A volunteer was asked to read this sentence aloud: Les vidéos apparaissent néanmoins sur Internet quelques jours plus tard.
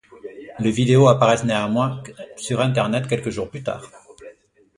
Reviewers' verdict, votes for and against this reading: rejected, 1, 2